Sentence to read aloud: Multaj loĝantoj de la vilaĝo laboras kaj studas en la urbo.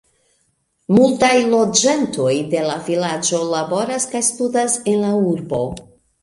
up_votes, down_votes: 2, 0